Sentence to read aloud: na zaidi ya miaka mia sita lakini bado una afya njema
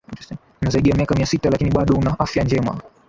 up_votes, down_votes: 2, 0